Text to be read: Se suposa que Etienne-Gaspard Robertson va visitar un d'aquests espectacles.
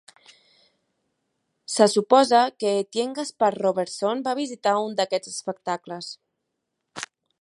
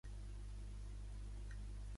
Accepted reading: first